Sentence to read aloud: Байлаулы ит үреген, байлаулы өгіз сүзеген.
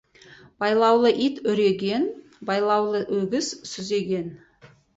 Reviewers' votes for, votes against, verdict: 2, 2, rejected